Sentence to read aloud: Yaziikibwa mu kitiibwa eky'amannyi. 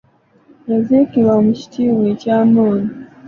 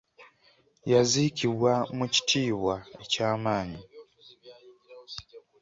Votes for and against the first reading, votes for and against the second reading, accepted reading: 1, 2, 2, 0, second